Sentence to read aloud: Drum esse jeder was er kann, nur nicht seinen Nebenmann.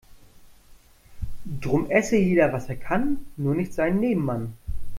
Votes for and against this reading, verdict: 2, 0, accepted